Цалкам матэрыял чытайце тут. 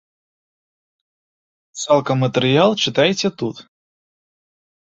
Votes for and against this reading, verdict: 2, 0, accepted